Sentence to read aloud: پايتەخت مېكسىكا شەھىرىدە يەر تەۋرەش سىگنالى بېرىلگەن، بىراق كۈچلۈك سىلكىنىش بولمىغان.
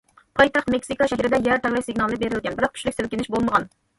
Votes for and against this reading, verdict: 1, 2, rejected